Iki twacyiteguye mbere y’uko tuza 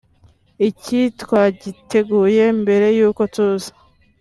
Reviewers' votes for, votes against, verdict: 2, 0, accepted